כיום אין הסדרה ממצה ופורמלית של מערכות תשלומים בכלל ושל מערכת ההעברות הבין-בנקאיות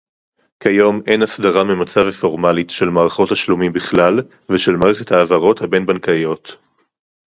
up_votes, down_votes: 2, 2